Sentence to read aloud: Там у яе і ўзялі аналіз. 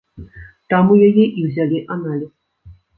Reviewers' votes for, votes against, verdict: 0, 2, rejected